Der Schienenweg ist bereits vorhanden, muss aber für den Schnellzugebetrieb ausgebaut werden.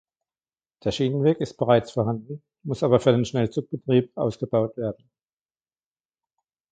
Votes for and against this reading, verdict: 2, 0, accepted